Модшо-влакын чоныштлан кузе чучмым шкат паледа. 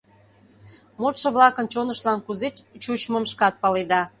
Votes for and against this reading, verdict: 1, 2, rejected